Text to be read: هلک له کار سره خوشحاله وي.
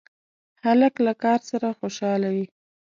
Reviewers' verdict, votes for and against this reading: accepted, 2, 1